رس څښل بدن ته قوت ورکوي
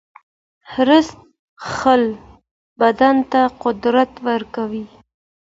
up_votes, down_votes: 2, 1